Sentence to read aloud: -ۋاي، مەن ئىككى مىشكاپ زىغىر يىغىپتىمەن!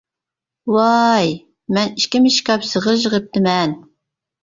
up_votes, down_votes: 0, 2